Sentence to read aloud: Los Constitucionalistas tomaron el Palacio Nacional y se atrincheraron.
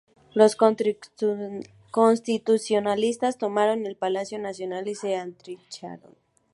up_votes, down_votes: 0, 2